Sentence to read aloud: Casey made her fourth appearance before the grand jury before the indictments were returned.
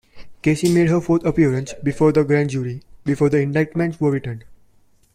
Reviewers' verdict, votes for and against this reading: accepted, 2, 0